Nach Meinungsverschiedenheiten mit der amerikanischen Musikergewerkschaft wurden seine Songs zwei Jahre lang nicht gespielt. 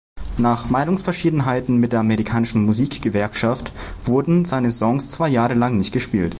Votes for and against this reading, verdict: 0, 2, rejected